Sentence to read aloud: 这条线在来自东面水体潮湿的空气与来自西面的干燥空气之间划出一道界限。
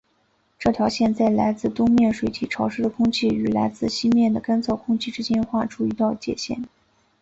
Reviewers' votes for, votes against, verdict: 2, 0, accepted